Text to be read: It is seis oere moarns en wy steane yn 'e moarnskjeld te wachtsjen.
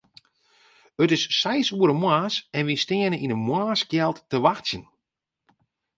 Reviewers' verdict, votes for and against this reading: accepted, 2, 0